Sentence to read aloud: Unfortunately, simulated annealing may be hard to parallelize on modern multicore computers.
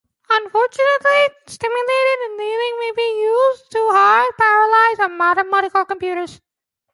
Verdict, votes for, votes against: rejected, 0, 3